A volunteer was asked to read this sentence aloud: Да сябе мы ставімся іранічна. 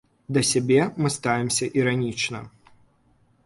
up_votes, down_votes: 2, 0